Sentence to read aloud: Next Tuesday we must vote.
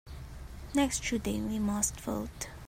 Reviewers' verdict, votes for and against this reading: rejected, 1, 2